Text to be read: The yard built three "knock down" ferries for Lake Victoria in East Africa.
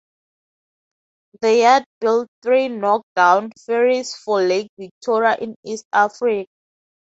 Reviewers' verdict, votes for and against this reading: rejected, 0, 2